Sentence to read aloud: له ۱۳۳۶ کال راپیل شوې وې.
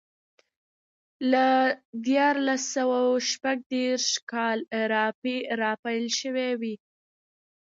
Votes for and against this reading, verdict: 0, 2, rejected